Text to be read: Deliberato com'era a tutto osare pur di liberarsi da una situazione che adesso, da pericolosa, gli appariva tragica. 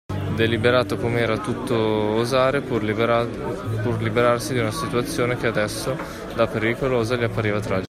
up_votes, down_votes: 0, 2